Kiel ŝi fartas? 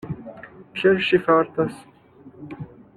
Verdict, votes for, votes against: rejected, 1, 2